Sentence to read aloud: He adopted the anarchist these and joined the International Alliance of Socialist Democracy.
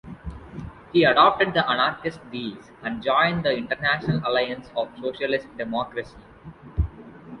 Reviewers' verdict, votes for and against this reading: accepted, 3, 0